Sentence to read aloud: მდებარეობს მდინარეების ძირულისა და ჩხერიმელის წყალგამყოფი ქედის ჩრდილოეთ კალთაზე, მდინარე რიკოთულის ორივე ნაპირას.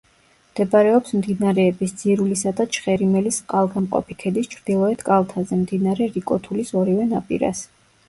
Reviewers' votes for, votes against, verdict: 1, 2, rejected